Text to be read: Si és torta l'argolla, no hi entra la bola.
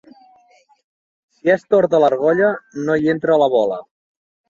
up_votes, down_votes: 2, 0